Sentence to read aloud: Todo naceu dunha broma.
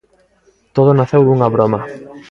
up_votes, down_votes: 3, 0